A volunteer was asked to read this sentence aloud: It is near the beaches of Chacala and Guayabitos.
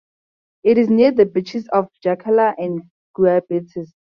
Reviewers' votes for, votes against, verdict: 4, 0, accepted